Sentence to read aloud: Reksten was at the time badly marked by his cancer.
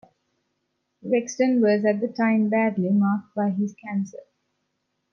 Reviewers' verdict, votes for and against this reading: accepted, 2, 0